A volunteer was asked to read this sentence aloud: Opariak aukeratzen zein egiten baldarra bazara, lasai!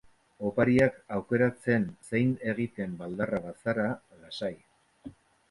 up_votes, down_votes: 0, 2